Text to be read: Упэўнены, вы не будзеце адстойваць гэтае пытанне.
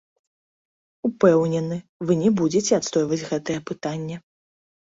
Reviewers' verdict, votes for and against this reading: rejected, 1, 2